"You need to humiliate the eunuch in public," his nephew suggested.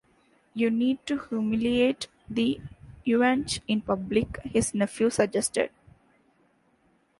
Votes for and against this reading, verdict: 0, 2, rejected